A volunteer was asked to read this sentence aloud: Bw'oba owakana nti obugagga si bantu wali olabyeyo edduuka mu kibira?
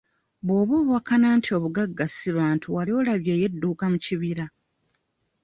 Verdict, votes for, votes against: accepted, 2, 0